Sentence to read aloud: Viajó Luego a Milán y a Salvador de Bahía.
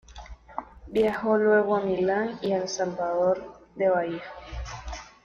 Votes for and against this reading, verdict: 2, 0, accepted